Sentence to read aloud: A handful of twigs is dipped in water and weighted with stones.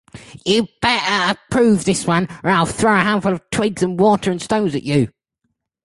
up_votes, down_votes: 0, 3